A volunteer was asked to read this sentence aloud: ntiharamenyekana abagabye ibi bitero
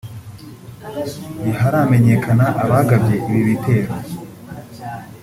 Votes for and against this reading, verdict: 1, 2, rejected